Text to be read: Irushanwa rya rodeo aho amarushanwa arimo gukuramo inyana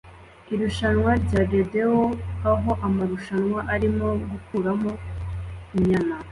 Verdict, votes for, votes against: accepted, 2, 1